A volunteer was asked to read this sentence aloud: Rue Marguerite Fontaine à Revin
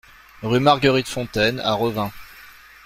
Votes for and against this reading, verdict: 2, 0, accepted